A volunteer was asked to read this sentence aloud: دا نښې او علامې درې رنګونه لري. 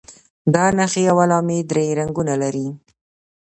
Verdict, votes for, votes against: accepted, 2, 0